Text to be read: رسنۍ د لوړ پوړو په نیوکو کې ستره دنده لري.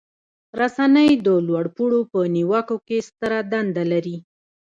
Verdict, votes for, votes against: accepted, 2, 0